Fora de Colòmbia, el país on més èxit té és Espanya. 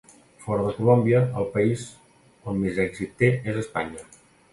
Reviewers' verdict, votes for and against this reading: accepted, 2, 0